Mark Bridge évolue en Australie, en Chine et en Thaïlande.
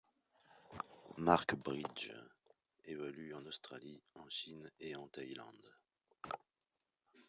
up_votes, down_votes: 0, 2